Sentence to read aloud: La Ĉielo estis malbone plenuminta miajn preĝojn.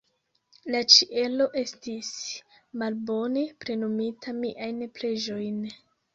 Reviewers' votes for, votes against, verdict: 1, 2, rejected